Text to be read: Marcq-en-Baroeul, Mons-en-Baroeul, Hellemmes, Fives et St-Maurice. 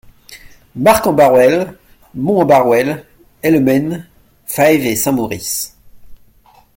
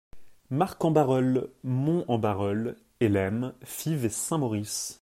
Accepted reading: second